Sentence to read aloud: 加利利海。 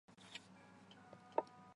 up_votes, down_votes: 0, 5